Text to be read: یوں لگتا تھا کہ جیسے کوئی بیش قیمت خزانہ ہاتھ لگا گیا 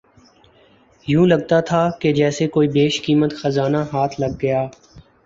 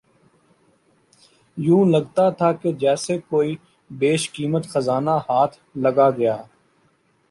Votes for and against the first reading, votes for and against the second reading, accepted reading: 1, 2, 2, 0, second